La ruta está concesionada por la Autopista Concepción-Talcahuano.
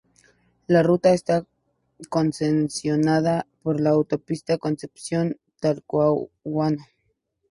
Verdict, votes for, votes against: accepted, 2, 0